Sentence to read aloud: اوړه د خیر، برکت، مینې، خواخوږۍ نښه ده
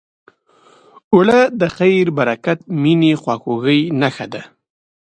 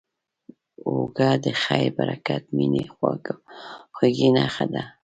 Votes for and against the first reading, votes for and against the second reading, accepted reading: 2, 0, 1, 2, first